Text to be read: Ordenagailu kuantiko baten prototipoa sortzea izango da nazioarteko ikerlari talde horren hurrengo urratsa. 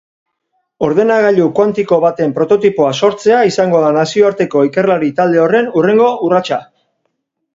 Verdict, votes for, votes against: accepted, 6, 0